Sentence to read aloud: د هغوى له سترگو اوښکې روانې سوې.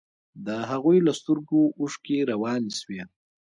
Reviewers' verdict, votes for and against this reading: rejected, 0, 2